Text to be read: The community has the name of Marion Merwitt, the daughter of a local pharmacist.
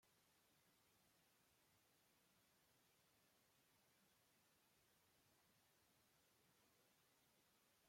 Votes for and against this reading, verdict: 0, 2, rejected